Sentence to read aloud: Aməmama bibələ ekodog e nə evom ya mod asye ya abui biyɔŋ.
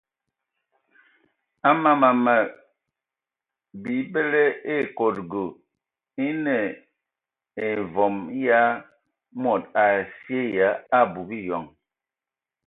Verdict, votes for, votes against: rejected, 0, 2